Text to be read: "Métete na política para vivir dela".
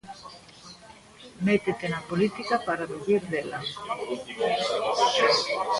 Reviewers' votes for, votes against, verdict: 2, 0, accepted